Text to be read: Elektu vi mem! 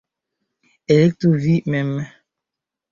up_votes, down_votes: 0, 2